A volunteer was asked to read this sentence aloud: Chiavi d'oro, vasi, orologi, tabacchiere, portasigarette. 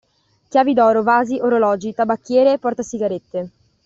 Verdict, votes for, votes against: accepted, 2, 0